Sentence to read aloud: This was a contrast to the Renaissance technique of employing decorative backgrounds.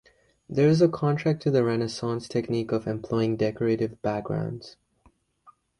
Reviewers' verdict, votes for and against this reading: rejected, 0, 2